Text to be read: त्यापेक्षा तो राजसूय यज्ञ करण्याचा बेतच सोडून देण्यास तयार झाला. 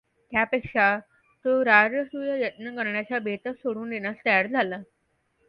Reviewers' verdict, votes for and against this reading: accepted, 2, 0